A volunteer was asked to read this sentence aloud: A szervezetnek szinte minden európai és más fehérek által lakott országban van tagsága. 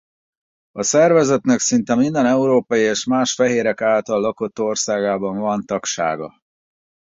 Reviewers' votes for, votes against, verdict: 0, 4, rejected